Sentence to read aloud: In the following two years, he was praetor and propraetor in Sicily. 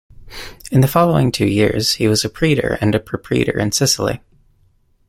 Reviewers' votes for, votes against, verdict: 2, 1, accepted